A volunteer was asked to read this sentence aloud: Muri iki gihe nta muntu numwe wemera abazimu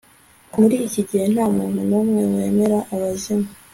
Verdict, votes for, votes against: accepted, 2, 0